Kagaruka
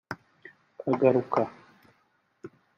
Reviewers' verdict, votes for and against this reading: rejected, 1, 2